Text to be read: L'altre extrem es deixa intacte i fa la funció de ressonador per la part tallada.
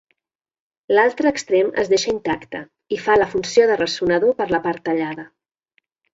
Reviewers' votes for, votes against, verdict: 4, 0, accepted